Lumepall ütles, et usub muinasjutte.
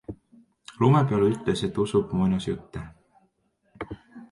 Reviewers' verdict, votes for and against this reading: accepted, 2, 0